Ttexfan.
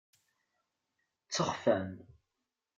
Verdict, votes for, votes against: accepted, 2, 0